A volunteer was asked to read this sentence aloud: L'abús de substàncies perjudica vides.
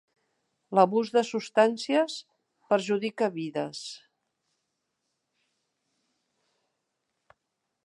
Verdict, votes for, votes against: rejected, 1, 2